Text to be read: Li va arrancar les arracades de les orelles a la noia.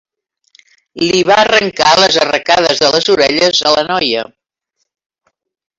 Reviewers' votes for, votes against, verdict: 1, 2, rejected